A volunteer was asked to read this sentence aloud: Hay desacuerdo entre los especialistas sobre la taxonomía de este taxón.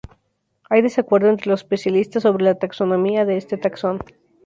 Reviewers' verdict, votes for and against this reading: rejected, 0, 2